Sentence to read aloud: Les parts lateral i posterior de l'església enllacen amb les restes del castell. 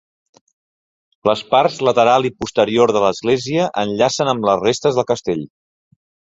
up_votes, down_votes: 2, 0